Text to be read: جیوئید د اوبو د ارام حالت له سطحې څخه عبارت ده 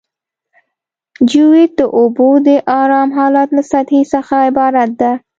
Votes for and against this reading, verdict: 2, 0, accepted